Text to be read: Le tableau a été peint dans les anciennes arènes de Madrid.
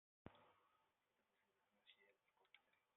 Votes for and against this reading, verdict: 0, 2, rejected